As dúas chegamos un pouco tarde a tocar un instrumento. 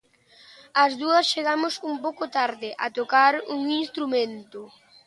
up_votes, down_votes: 3, 0